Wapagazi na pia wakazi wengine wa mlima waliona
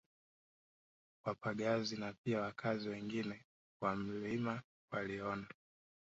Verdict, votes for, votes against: rejected, 1, 2